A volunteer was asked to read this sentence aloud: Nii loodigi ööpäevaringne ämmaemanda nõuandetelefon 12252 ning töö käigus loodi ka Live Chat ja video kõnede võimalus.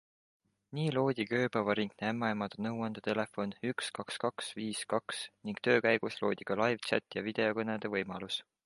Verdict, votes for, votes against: rejected, 0, 2